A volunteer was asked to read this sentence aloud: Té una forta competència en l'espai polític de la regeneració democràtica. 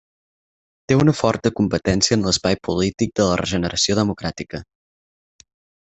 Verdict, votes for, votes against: accepted, 6, 0